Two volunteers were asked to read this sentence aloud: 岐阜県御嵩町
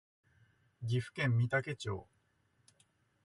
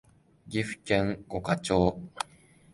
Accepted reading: first